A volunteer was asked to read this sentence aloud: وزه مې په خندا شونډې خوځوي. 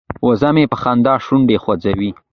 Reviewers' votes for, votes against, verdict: 1, 2, rejected